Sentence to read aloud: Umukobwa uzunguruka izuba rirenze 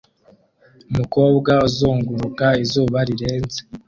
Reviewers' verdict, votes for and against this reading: rejected, 0, 2